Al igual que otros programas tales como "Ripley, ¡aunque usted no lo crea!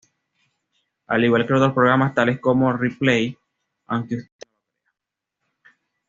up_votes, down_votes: 1, 2